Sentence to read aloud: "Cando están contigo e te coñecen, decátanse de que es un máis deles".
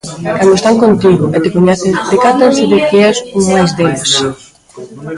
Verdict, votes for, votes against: rejected, 1, 2